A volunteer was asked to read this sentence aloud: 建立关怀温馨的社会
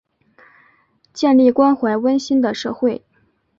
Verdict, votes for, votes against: rejected, 1, 2